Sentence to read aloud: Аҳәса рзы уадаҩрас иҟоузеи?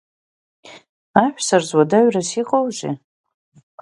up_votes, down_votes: 5, 0